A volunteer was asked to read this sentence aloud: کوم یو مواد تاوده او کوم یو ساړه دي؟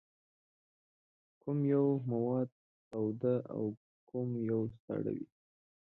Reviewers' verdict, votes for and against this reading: rejected, 1, 2